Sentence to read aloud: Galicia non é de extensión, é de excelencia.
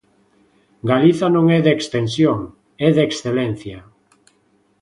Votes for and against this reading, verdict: 2, 1, accepted